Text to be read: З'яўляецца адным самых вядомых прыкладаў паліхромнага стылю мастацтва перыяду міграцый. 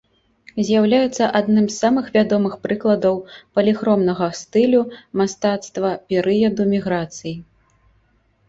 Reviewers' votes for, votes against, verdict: 2, 0, accepted